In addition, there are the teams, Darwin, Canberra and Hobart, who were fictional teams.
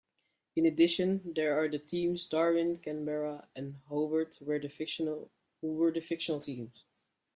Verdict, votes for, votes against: rejected, 0, 2